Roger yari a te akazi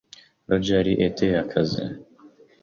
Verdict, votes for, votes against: rejected, 0, 2